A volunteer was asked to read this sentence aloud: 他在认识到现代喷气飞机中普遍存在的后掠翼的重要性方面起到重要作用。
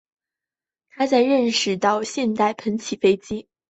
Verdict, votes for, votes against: accepted, 2, 0